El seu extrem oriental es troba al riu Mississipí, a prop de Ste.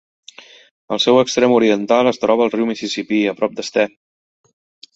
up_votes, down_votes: 0, 2